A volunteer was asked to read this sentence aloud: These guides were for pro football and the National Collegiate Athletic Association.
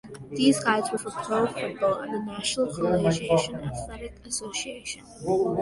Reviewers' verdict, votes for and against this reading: rejected, 1, 2